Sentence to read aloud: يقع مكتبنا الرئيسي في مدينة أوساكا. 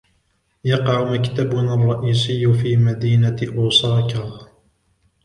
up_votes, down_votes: 1, 2